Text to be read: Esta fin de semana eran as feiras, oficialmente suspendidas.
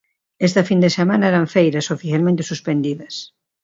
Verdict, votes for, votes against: rejected, 0, 2